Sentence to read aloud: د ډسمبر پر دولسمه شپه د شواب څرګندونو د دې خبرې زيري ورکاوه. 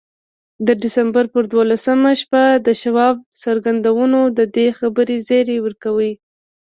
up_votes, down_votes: 2, 0